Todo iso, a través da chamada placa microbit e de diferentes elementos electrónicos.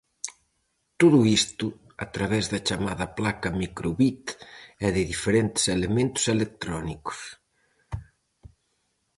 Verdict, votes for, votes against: rejected, 2, 2